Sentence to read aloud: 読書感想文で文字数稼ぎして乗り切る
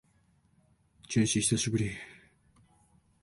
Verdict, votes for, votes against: rejected, 0, 2